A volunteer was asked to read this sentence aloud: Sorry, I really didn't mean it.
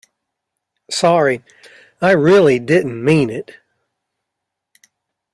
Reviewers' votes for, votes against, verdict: 2, 0, accepted